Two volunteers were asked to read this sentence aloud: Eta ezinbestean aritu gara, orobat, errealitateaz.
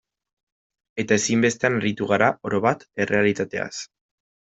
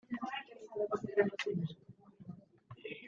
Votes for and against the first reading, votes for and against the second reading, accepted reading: 2, 0, 0, 2, first